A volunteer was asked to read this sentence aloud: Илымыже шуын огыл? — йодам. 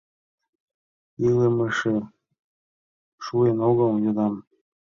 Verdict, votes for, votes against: rejected, 0, 2